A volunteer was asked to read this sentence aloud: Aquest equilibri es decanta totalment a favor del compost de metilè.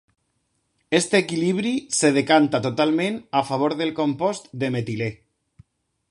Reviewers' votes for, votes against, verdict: 2, 0, accepted